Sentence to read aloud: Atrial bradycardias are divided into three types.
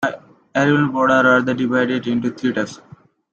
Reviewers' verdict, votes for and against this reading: rejected, 0, 2